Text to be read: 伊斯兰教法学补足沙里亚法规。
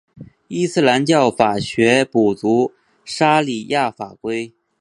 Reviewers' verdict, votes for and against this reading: accepted, 2, 0